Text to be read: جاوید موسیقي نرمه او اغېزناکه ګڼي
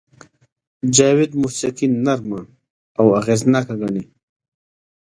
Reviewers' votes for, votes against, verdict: 2, 0, accepted